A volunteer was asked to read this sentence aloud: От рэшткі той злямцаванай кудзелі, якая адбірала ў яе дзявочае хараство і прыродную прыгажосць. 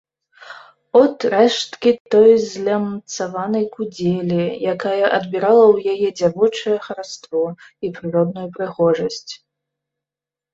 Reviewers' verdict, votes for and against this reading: rejected, 0, 2